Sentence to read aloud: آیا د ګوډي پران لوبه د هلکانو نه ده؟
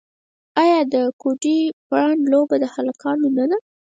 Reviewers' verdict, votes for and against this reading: rejected, 2, 4